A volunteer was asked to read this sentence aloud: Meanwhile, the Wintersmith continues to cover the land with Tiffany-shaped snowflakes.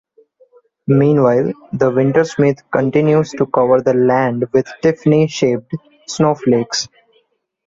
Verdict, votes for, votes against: accepted, 2, 0